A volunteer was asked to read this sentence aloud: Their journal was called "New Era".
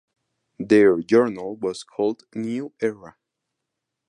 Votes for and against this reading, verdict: 4, 0, accepted